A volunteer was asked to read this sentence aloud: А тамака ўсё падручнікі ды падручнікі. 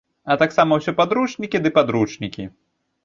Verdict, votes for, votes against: rejected, 1, 2